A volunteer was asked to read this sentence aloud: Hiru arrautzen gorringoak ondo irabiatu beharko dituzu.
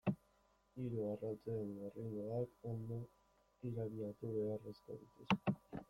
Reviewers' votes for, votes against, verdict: 0, 2, rejected